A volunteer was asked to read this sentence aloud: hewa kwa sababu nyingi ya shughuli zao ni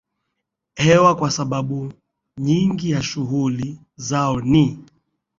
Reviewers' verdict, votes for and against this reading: accepted, 2, 0